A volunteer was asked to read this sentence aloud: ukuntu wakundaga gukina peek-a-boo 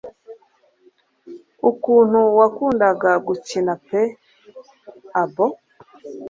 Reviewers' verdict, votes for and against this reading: accepted, 2, 0